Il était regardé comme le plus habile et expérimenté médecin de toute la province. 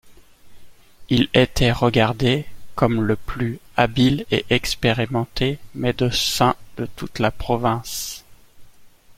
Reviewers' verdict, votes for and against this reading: accepted, 2, 0